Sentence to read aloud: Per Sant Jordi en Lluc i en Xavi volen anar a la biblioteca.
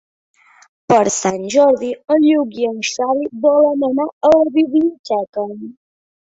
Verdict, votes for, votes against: accepted, 2, 1